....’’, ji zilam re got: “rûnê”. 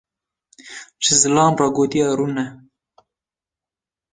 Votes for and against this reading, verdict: 0, 2, rejected